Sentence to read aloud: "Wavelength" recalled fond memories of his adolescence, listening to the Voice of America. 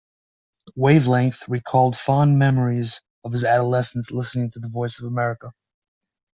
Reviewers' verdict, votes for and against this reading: accepted, 2, 0